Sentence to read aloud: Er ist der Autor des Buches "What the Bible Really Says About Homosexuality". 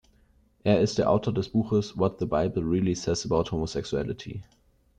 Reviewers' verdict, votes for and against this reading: accepted, 2, 0